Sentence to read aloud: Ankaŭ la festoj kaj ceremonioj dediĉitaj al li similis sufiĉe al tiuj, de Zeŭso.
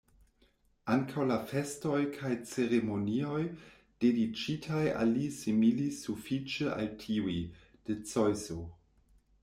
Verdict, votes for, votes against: rejected, 1, 2